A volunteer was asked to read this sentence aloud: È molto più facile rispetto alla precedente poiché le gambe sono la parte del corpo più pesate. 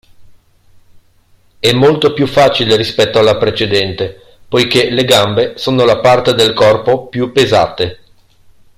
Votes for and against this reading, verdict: 2, 0, accepted